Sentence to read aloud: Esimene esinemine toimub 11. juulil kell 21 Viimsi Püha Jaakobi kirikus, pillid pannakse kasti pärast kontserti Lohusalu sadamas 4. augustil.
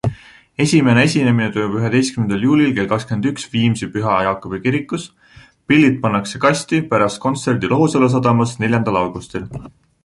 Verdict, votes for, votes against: rejected, 0, 2